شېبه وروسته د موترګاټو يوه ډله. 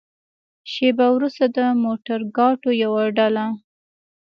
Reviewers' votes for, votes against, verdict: 2, 1, accepted